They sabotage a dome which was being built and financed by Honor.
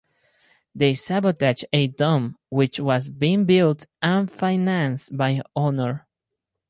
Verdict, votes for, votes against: accepted, 4, 0